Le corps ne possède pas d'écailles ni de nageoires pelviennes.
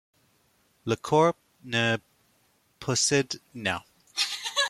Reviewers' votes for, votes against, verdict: 0, 2, rejected